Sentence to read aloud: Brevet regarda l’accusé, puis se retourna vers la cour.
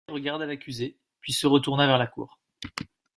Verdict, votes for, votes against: rejected, 1, 2